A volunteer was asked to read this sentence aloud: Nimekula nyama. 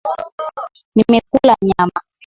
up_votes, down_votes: 2, 1